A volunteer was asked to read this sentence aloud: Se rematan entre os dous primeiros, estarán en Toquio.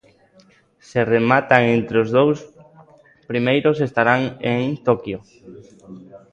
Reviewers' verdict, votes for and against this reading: rejected, 0, 2